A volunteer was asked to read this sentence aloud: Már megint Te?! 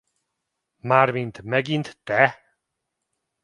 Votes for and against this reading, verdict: 0, 2, rejected